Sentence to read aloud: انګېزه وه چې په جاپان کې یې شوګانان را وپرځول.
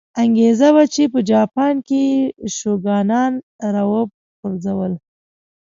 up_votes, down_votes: 2, 0